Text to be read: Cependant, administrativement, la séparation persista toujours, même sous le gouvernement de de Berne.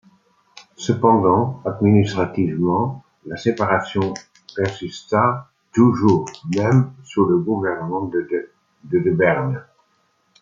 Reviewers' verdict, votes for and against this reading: rejected, 1, 2